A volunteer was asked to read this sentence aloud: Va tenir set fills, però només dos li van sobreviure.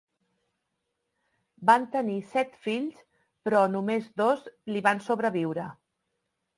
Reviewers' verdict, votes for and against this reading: rejected, 0, 2